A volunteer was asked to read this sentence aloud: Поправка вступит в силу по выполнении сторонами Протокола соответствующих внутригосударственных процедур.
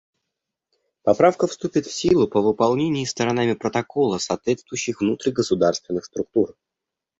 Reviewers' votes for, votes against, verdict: 0, 2, rejected